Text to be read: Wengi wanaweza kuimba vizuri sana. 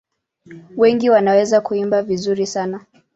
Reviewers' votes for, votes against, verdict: 2, 0, accepted